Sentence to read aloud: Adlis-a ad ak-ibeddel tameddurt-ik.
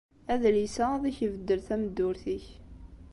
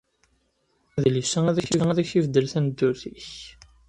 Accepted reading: first